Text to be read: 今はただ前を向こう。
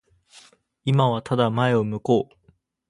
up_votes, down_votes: 2, 2